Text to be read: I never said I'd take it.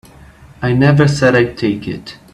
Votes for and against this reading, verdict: 2, 0, accepted